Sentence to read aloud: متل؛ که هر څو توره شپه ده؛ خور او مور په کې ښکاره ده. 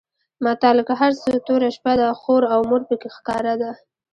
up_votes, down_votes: 2, 0